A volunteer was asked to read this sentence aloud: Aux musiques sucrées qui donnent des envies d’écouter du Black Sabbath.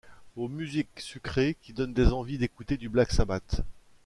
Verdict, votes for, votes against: accepted, 2, 0